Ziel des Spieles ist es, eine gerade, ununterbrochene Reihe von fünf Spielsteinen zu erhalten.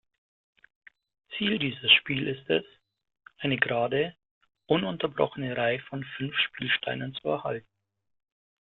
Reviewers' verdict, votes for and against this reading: rejected, 1, 2